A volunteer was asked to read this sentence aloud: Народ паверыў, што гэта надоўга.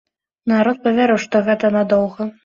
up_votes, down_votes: 2, 0